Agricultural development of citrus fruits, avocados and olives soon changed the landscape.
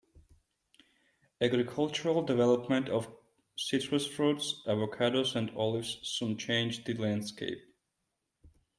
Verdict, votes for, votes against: accepted, 2, 0